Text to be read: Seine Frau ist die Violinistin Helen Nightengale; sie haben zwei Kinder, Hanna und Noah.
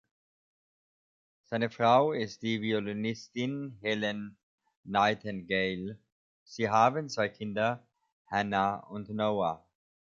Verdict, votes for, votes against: accepted, 2, 0